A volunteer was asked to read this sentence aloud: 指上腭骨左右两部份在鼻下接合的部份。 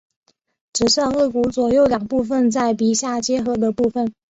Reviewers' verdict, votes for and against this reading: accepted, 5, 0